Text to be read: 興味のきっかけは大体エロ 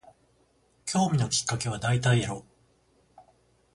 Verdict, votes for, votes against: accepted, 14, 0